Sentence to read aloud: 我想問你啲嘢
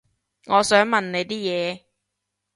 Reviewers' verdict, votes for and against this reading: accepted, 3, 0